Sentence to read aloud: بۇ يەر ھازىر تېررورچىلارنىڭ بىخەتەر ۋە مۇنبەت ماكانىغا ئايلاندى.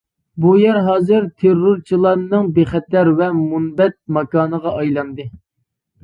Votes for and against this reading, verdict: 2, 0, accepted